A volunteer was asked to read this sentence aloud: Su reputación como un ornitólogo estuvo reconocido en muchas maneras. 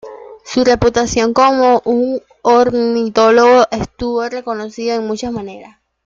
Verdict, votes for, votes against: accepted, 2, 0